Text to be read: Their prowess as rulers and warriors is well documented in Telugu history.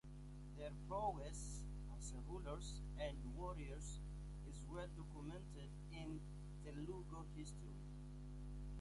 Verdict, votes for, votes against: rejected, 0, 2